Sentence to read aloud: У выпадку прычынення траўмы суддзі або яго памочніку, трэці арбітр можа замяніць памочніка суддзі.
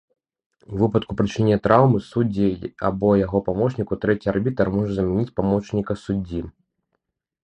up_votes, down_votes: 1, 2